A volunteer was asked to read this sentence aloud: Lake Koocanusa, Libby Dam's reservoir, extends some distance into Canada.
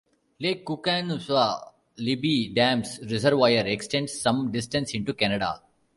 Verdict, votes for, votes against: accepted, 2, 0